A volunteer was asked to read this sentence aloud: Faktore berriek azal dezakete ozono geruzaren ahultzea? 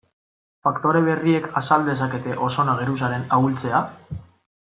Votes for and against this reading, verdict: 2, 0, accepted